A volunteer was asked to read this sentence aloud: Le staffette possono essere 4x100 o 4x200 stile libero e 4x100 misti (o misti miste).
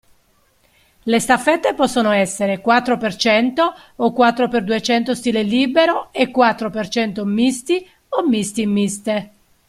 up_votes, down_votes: 0, 2